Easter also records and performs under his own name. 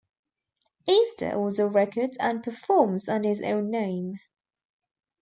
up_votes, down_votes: 1, 2